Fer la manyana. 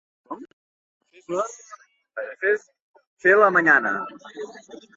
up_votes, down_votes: 0, 2